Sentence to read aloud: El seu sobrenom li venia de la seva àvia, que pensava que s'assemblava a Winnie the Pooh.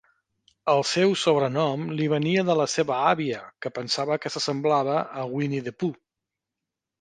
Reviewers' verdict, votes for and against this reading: accepted, 2, 0